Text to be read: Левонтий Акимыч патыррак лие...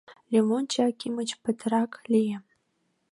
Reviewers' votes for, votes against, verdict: 0, 2, rejected